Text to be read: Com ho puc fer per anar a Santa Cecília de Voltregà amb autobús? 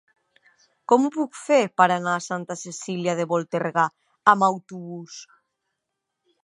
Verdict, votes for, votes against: rejected, 1, 2